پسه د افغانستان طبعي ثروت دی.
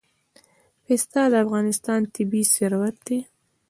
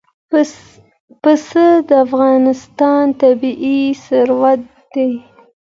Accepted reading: second